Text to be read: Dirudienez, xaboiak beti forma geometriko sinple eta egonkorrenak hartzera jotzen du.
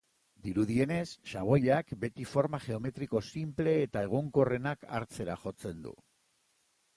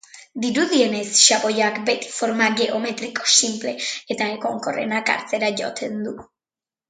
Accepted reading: first